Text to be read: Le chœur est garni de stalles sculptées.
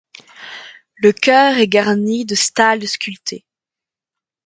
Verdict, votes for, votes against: accepted, 2, 0